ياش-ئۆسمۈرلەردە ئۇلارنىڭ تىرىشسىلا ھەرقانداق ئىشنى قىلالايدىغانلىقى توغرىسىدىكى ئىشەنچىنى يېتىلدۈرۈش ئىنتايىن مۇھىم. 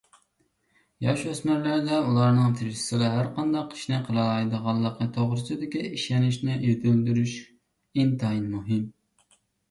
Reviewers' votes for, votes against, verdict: 2, 0, accepted